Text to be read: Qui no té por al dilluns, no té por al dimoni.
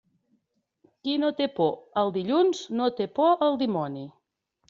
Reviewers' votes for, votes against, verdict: 3, 0, accepted